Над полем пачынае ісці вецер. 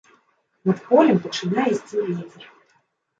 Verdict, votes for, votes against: rejected, 1, 2